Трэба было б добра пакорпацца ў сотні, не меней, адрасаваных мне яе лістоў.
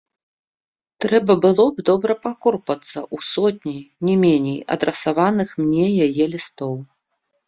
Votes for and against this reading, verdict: 2, 1, accepted